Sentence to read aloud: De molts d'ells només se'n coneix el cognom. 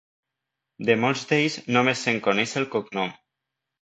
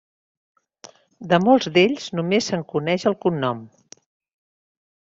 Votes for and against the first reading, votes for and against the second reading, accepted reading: 1, 2, 3, 0, second